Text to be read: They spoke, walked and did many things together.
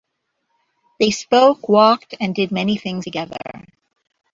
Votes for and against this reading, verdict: 2, 1, accepted